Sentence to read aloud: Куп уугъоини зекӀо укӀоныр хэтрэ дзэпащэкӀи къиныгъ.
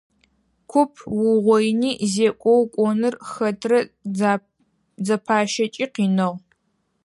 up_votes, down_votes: 2, 4